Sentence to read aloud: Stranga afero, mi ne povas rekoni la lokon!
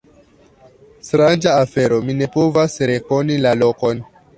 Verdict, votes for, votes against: rejected, 0, 2